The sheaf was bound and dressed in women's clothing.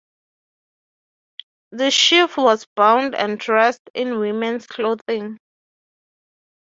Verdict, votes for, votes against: accepted, 6, 0